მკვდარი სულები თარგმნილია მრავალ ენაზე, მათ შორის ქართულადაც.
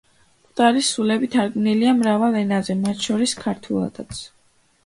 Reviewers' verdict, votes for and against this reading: accepted, 2, 0